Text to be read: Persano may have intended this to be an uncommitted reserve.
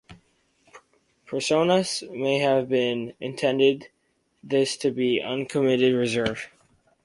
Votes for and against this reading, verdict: 0, 2, rejected